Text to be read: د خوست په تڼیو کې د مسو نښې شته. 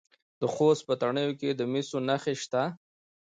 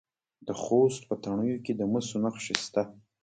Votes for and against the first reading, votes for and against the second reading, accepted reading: 1, 2, 2, 1, second